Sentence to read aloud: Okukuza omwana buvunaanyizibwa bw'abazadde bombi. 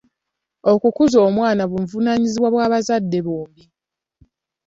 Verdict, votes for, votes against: accepted, 2, 1